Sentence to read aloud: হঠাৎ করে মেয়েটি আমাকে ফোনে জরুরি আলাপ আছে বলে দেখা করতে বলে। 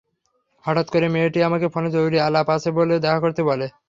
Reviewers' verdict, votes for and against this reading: accepted, 3, 0